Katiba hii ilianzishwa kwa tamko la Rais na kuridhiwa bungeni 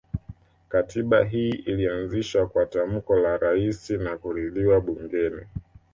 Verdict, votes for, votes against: accepted, 2, 1